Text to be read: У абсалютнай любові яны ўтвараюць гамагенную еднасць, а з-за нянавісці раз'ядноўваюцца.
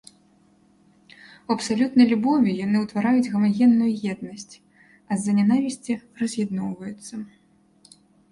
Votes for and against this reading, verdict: 2, 0, accepted